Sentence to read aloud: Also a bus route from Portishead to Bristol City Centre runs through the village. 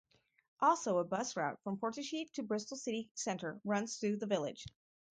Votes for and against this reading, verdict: 2, 2, rejected